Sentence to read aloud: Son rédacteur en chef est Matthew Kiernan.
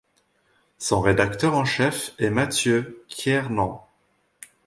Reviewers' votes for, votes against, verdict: 2, 0, accepted